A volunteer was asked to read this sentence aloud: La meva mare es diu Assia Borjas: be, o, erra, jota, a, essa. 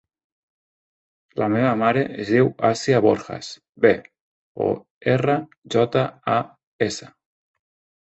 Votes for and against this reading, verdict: 0, 2, rejected